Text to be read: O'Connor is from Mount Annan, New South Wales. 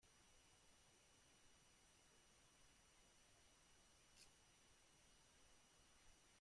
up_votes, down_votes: 0, 2